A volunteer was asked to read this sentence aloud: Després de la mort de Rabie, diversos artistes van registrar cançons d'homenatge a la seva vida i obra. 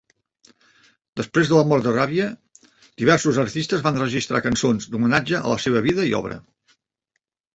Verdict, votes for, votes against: accepted, 2, 1